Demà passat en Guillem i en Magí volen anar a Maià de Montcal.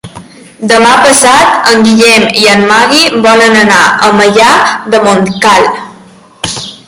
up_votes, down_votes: 1, 2